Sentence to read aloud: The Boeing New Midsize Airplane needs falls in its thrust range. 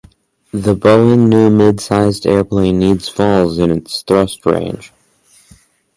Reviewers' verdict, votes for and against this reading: accepted, 4, 0